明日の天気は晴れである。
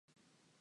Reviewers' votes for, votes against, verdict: 0, 2, rejected